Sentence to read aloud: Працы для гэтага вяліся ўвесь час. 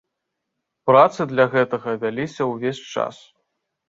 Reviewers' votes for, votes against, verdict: 2, 0, accepted